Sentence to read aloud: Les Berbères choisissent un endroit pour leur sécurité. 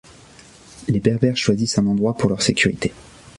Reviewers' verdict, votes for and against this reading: accepted, 2, 0